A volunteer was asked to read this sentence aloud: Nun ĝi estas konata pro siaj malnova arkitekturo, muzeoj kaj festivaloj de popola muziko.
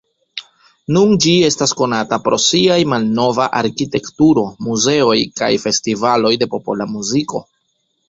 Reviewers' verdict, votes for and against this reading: accepted, 2, 0